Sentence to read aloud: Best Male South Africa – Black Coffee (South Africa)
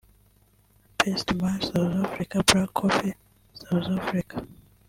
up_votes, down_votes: 1, 2